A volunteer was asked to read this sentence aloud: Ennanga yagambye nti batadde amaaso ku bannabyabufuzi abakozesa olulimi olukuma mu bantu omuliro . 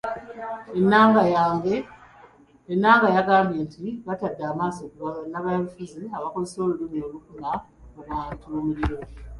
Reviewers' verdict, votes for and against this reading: rejected, 1, 2